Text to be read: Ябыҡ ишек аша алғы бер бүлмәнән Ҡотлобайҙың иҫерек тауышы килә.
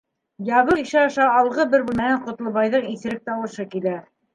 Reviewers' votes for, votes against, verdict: 2, 3, rejected